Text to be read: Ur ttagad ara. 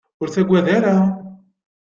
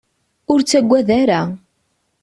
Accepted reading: second